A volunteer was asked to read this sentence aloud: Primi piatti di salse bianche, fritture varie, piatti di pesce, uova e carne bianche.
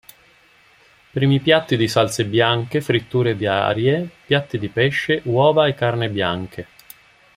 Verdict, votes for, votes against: rejected, 0, 2